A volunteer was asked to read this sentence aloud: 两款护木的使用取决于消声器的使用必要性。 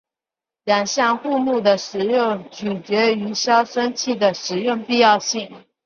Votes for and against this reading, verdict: 6, 1, accepted